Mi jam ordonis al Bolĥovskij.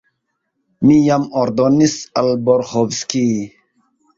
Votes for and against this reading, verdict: 2, 2, rejected